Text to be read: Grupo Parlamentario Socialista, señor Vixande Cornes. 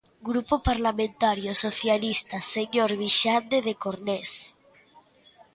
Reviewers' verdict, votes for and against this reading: rejected, 0, 2